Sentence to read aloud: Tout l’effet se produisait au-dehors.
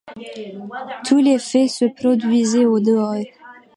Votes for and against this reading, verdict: 2, 0, accepted